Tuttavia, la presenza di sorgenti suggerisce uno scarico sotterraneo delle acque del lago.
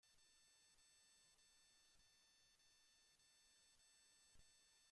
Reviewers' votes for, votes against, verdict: 0, 2, rejected